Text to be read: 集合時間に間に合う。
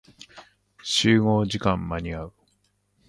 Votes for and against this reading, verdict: 1, 3, rejected